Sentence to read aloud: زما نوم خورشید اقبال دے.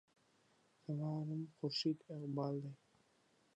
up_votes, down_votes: 3, 1